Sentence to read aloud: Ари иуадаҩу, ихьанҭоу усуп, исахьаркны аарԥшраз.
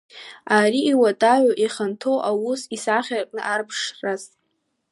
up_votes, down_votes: 1, 2